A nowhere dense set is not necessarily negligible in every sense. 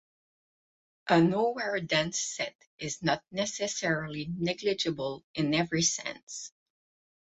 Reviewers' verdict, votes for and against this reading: accepted, 8, 0